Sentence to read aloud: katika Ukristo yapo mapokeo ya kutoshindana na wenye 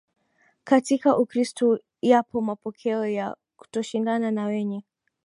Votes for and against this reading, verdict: 2, 3, rejected